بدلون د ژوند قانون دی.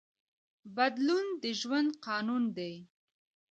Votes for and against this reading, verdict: 2, 1, accepted